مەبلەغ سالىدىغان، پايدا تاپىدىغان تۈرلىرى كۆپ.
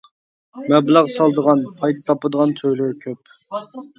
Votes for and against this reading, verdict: 1, 2, rejected